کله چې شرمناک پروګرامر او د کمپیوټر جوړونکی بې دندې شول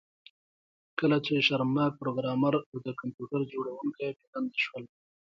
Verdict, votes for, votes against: accepted, 2, 0